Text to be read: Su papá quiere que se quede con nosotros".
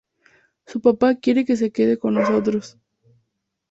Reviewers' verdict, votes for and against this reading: accepted, 2, 0